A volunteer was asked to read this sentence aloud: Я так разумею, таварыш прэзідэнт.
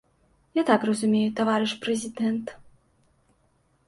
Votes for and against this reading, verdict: 2, 0, accepted